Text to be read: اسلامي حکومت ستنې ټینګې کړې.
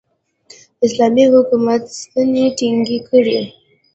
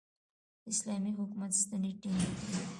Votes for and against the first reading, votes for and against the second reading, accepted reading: 3, 0, 1, 2, first